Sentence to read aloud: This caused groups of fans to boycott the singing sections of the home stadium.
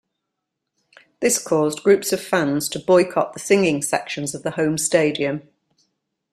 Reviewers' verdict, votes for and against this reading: accepted, 2, 1